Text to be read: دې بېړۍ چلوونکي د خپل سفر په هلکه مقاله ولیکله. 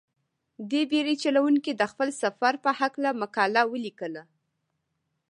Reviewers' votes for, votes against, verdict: 1, 2, rejected